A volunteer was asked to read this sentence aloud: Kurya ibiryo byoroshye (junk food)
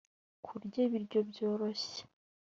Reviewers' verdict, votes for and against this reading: rejected, 1, 2